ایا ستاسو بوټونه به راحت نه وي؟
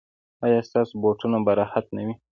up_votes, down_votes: 2, 1